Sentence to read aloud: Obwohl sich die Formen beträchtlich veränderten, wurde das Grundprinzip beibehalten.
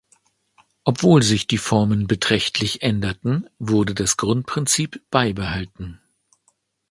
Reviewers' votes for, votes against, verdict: 0, 2, rejected